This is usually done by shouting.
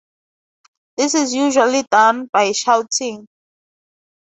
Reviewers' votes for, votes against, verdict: 4, 0, accepted